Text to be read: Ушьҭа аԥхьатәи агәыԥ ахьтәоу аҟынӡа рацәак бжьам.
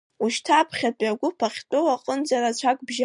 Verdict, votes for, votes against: rejected, 1, 2